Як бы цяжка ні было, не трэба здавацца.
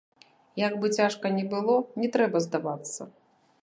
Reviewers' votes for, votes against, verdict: 1, 2, rejected